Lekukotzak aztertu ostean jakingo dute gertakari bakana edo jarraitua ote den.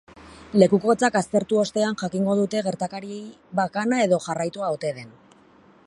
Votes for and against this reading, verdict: 4, 0, accepted